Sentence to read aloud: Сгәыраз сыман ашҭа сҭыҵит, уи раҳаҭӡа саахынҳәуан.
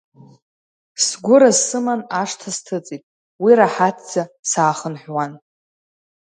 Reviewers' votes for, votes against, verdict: 2, 0, accepted